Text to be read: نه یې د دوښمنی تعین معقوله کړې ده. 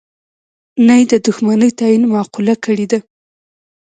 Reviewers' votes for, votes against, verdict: 2, 0, accepted